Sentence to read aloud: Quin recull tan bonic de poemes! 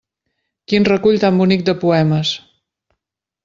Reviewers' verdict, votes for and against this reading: accepted, 3, 0